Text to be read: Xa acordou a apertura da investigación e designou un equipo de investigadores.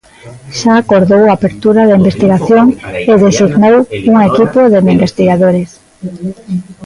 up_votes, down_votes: 0, 2